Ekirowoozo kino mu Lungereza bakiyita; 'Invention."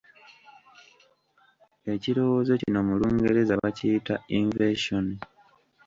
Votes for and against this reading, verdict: 1, 2, rejected